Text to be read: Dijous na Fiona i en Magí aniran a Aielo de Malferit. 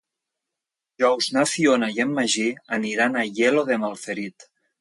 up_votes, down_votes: 0, 2